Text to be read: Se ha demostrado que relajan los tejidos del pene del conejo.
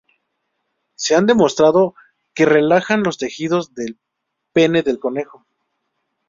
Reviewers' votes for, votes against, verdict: 2, 0, accepted